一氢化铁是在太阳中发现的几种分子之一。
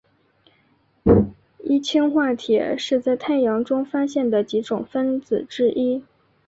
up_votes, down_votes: 2, 0